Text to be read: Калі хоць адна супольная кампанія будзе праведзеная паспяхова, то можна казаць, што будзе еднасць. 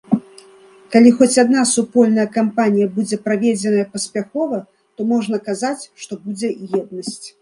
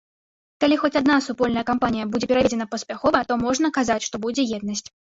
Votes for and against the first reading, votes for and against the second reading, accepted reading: 2, 0, 1, 2, first